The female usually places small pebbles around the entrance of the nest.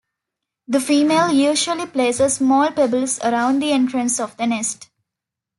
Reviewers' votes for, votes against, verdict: 2, 0, accepted